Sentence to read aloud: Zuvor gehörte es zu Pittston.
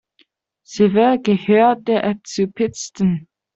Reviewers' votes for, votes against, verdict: 0, 2, rejected